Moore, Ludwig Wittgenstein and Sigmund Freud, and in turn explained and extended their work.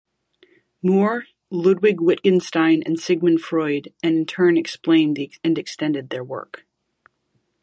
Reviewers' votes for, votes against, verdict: 1, 2, rejected